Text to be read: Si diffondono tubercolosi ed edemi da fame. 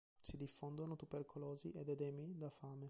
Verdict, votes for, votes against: rejected, 1, 2